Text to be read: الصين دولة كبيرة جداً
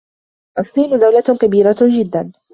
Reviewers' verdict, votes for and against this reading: accepted, 2, 1